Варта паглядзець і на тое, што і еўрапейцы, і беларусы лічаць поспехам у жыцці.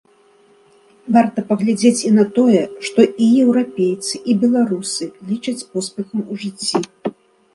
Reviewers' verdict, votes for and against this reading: accepted, 2, 0